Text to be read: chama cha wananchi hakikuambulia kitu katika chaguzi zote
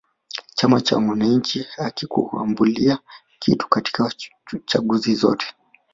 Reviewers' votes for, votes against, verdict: 2, 0, accepted